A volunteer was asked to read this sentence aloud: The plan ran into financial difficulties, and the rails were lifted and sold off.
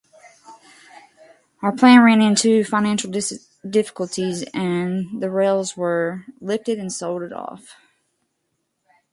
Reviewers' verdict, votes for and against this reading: rejected, 0, 2